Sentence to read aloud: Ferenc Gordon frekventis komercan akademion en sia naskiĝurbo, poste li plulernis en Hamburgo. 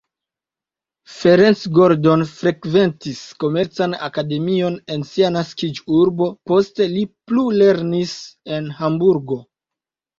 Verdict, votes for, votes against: accepted, 2, 0